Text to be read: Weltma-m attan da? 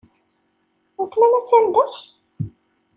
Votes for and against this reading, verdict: 2, 0, accepted